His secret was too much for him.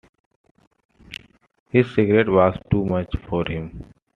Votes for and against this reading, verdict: 2, 0, accepted